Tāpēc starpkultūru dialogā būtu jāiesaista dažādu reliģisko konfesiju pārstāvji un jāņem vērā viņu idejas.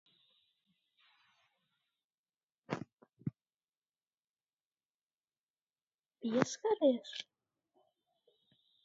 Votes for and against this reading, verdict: 0, 2, rejected